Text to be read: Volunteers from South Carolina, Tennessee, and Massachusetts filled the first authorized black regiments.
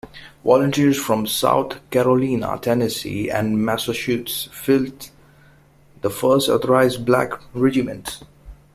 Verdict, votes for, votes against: rejected, 0, 2